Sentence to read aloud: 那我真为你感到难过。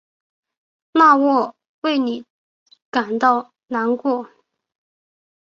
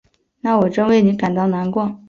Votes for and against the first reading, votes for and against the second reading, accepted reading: 0, 2, 2, 0, second